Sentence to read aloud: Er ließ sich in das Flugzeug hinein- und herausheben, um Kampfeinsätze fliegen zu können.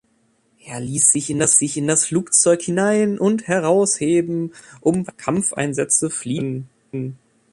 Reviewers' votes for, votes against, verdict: 0, 2, rejected